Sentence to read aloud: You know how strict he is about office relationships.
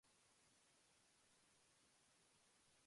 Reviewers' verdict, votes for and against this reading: rejected, 0, 2